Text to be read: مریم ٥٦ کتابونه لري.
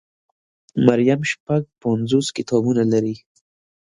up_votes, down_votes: 0, 2